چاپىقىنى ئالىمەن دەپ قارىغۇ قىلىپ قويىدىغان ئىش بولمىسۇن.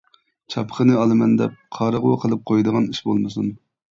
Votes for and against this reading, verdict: 0, 2, rejected